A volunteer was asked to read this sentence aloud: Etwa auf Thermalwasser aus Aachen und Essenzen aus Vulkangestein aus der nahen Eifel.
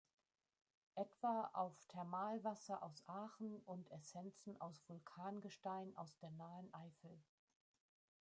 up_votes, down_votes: 3, 1